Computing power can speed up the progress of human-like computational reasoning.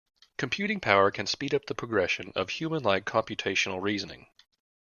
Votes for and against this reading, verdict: 1, 2, rejected